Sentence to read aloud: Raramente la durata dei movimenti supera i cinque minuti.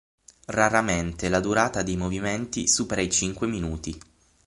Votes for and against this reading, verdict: 6, 0, accepted